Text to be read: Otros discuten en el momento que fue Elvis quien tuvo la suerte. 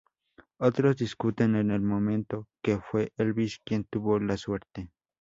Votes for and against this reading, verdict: 0, 2, rejected